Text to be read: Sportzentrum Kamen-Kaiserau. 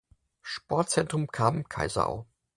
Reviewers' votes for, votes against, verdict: 4, 0, accepted